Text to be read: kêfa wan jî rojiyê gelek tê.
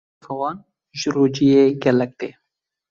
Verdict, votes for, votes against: rejected, 1, 2